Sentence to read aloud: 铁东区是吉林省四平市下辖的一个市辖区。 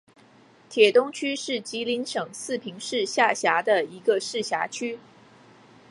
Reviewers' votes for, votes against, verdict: 0, 2, rejected